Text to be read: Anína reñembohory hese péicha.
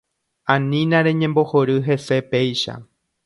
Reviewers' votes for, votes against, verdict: 2, 0, accepted